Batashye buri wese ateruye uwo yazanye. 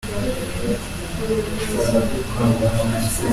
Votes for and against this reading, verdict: 0, 2, rejected